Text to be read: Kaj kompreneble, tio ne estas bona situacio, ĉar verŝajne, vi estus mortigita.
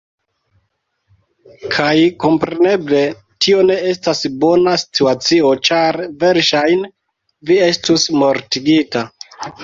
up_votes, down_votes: 1, 2